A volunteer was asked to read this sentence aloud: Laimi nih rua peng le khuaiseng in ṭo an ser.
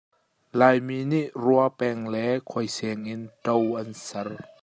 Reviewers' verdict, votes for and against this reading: accepted, 2, 0